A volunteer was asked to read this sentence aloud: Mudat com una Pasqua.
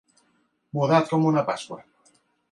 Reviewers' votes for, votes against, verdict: 1, 2, rejected